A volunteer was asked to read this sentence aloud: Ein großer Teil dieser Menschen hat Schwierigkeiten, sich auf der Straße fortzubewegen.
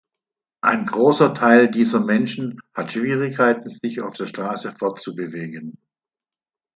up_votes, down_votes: 2, 0